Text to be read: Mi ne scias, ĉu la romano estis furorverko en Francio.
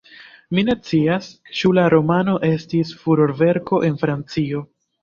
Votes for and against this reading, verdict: 0, 2, rejected